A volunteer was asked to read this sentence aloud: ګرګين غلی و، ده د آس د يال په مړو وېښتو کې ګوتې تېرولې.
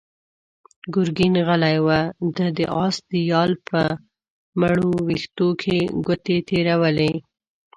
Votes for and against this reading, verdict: 0, 2, rejected